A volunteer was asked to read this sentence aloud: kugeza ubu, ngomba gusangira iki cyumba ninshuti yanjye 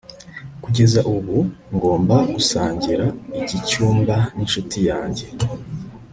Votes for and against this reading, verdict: 3, 0, accepted